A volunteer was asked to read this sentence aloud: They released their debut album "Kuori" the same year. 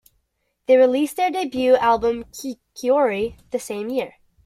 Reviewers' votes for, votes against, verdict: 0, 2, rejected